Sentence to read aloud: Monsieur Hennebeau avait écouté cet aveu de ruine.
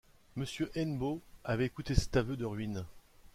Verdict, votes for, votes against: rejected, 0, 2